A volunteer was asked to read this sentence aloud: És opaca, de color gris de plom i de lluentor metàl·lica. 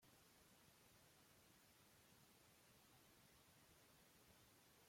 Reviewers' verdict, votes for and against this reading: rejected, 0, 2